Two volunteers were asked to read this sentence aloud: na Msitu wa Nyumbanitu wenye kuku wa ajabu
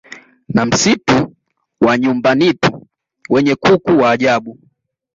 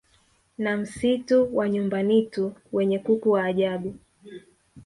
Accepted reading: first